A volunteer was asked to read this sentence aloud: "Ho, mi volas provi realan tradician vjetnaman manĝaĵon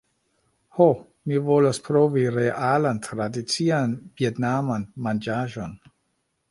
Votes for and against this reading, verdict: 2, 0, accepted